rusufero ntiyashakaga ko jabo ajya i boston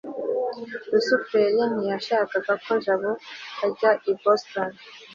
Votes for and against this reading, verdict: 2, 0, accepted